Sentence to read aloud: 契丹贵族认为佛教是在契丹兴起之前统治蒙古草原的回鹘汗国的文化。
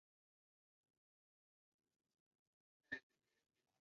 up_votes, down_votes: 0, 4